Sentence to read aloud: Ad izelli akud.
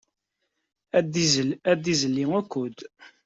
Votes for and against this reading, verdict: 0, 2, rejected